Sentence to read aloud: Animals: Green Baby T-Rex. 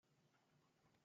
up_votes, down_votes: 0, 2